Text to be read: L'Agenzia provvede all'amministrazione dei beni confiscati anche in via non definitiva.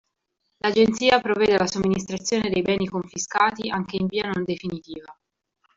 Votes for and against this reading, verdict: 0, 2, rejected